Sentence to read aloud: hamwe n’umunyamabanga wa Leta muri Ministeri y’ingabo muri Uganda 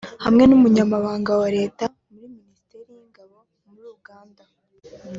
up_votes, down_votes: 2, 1